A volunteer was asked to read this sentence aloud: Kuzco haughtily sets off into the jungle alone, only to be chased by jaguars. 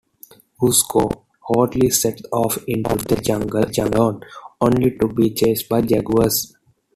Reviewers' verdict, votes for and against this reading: rejected, 0, 2